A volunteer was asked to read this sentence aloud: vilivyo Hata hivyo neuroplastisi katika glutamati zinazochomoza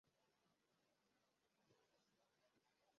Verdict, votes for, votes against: rejected, 0, 2